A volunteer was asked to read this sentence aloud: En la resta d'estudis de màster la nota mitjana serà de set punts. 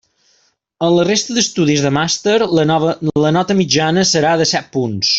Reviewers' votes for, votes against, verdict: 0, 2, rejected